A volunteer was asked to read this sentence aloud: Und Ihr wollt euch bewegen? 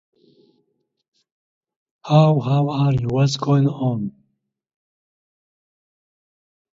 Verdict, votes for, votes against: rejected, 0, 2